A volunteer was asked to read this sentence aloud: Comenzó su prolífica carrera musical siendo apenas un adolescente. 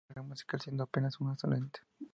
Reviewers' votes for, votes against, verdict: 0, 2, rejected